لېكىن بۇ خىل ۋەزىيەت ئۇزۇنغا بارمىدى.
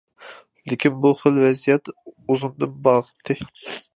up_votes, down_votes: 0, 2